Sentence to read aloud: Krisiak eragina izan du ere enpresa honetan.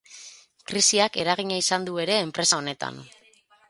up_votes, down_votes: 12, 0